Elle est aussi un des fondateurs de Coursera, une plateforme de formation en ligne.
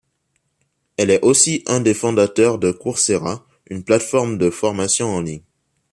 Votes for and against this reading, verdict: 2, 0, accepted